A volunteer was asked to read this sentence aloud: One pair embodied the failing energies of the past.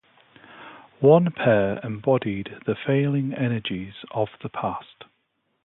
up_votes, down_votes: 4, 0